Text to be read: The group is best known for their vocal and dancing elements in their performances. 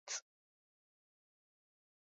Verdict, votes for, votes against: rejected, 0, 3